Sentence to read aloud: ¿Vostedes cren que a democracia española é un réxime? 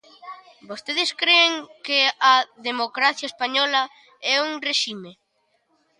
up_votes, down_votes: 0, 2